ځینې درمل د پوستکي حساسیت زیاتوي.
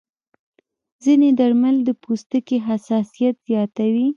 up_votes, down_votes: 0, 2